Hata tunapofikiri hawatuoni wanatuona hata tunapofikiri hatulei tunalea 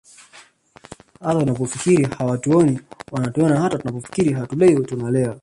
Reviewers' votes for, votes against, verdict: 0, 2, rejected